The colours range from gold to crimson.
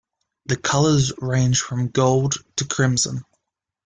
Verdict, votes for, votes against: rejected, 1, 2